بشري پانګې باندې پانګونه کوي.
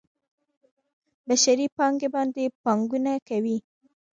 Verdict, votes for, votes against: accepted, 2, 0